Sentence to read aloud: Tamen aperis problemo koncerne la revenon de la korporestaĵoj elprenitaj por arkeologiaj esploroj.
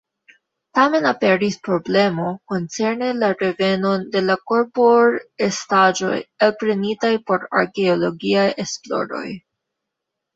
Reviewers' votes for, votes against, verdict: 1, 2, rejected